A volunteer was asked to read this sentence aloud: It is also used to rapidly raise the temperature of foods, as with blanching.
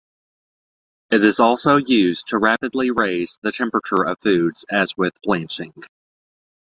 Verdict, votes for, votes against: accepted, 2, 0